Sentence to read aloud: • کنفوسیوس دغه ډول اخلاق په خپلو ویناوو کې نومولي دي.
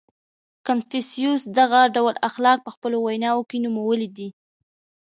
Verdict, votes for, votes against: accepted, 2, 0